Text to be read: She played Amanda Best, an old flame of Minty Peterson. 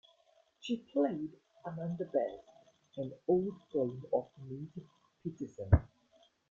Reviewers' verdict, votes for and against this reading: rejected, 0, 2